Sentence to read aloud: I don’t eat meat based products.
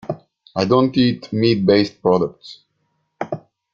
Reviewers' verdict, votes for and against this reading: accepted, 2, 1